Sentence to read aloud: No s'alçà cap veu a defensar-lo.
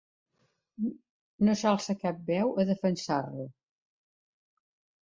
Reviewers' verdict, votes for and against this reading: accepted, 2, 0